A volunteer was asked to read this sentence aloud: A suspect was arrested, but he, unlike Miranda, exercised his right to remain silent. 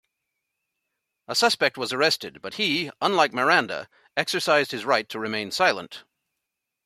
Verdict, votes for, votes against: accepted, 2, 0